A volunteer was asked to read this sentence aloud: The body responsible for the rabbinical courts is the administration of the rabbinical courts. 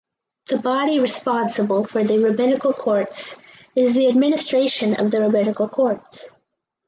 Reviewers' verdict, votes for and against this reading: accepted, 4, 0